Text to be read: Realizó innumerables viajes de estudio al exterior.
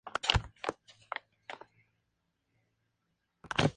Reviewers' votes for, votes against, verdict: 0, 2, rejected